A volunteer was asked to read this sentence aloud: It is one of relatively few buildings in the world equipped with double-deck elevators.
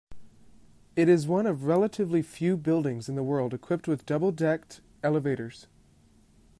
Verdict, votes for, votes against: rejected, 1, 2